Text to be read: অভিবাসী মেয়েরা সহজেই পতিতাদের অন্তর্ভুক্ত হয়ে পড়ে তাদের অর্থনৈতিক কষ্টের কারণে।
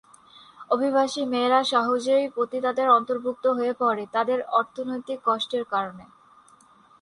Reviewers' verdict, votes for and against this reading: rejected, 0, 2